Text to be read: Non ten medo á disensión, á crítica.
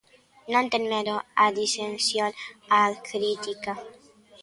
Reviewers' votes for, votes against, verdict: 1, 2, rejected